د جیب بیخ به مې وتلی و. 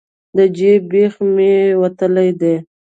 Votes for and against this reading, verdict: 0, 2, rejected